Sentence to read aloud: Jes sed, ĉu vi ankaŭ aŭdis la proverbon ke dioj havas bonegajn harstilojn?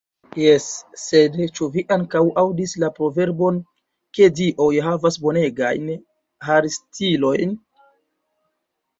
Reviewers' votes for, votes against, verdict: 1, 2, rejected